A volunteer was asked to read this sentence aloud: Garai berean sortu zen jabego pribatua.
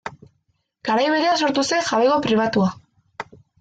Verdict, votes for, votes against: rejected, 0, 2